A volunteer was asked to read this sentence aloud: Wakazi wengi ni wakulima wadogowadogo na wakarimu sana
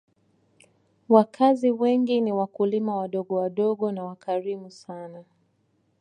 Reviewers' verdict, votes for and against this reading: accepted, 2, 0